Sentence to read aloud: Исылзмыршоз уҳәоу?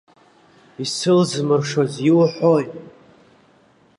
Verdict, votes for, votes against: rejected, 1, 2